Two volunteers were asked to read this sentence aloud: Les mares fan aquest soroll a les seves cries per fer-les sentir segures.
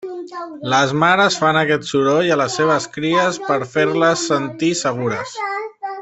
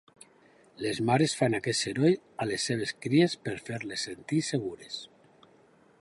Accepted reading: second